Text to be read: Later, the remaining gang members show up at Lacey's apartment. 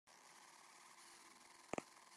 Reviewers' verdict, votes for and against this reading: rejected, 0, 2